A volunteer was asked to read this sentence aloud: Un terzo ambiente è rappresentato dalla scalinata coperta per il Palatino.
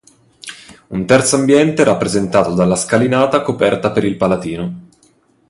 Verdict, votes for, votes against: accepted, 2, 0